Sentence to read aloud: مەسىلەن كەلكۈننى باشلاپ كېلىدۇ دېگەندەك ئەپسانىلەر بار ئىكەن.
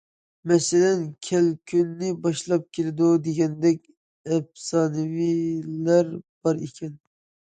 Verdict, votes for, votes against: rejected, 0, 2